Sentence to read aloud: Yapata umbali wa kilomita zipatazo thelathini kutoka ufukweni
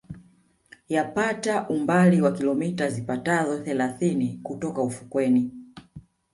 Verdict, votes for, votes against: accepted, 2, 0